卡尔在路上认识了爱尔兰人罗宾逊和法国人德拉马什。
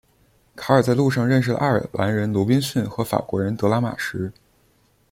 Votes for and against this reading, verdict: 1, 2, rejected